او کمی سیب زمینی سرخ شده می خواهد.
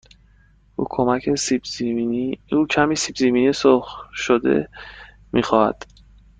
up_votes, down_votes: 1, 2